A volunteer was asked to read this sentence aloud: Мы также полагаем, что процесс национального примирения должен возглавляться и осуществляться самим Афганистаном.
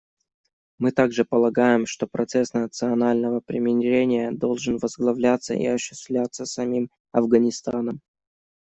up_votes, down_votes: 1, 2